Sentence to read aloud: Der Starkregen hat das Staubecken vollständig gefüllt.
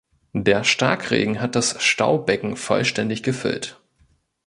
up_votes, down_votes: 2, 0